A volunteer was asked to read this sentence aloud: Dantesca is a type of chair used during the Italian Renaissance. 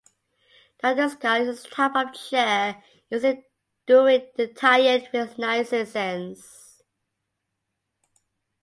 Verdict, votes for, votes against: rejected, 0, 2